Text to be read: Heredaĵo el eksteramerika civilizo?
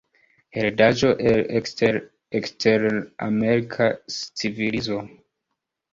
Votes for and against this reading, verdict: 1, 3, rejected